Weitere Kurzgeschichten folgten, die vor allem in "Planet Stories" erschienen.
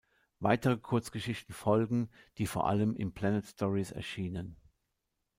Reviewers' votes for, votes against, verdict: 0, 2, rejected